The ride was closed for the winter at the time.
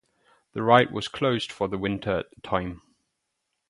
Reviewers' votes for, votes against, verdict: 2, 0, accepted